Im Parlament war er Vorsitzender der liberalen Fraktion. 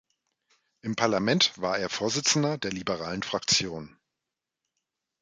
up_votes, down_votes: 2, 0